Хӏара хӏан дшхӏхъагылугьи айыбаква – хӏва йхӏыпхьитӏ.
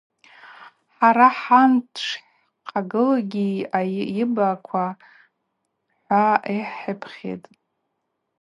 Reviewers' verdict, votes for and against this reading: accepted, 4, 0